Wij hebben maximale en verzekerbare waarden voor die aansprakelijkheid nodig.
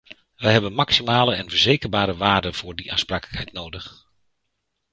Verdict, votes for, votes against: accepted, 2, 0